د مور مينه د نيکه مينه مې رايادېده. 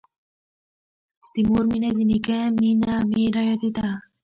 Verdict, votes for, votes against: rejected, 0, 2